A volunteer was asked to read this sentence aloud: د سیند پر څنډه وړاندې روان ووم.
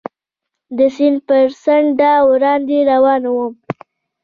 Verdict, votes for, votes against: rejected, 0, 2